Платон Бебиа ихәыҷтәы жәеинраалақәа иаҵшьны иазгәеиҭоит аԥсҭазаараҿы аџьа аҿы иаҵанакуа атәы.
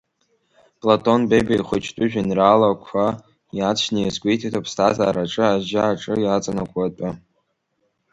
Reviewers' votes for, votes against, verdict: 2, 0, accepted